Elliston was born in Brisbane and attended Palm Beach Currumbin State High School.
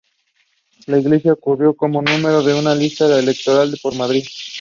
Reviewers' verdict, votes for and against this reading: rejected, 0, 2